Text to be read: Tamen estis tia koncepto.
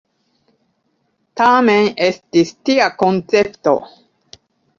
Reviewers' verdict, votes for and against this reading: accepted, 2, 0